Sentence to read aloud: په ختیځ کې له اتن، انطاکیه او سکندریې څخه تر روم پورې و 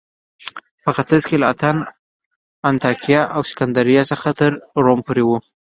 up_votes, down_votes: 2, 0